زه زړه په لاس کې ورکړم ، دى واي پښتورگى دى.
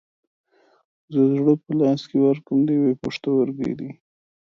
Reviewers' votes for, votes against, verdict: 0, 2, rejected